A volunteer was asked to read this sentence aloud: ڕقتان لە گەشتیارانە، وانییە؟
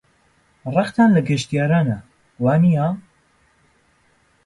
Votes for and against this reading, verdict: 2, 0, accepted